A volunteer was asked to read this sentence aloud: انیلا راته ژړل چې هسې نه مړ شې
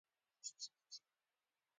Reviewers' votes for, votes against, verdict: 2, 1, accepted